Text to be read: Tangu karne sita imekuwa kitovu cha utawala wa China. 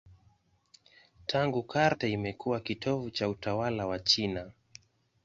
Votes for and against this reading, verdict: 1, 2, rejected